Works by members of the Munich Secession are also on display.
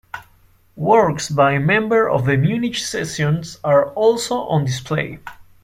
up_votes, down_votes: 1, 2